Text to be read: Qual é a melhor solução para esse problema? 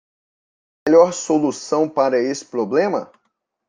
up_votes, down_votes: 0, 2